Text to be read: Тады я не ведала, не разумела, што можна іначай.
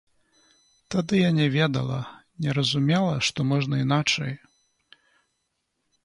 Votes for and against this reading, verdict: 2, 0, accepted